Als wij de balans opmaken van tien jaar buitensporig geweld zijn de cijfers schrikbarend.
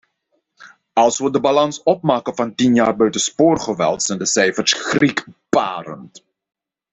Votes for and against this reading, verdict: 1, 2, rejected